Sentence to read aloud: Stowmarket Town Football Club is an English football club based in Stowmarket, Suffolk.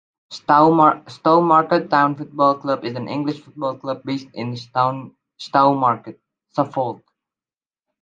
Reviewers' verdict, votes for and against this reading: rejected, 0, 2